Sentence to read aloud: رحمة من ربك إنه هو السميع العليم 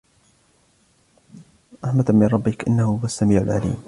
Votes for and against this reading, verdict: 2, 1, accepted